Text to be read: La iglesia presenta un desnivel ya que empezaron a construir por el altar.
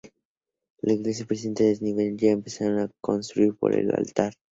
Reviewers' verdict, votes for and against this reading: rejected, 0, 2